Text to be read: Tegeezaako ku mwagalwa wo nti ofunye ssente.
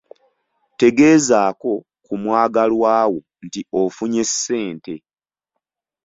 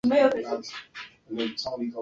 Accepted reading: first